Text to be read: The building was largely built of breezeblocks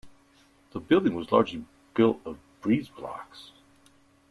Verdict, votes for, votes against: accepted, 2, 0